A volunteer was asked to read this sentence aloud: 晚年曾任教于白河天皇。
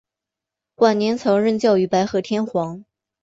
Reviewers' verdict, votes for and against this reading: accepted, 4, 0